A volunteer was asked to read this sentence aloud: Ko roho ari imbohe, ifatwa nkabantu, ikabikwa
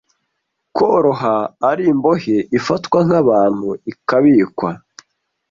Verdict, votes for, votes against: rejected, 0, 2